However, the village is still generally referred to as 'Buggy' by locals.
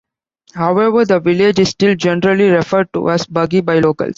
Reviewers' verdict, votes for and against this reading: accepted, 2, 0